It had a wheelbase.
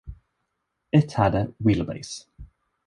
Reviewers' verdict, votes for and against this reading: accepted, 2, 0